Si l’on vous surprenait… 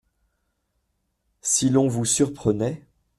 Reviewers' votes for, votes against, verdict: 2, 0, accepted